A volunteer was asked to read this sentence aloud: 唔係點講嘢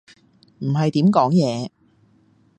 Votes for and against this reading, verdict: 2, 0, accepted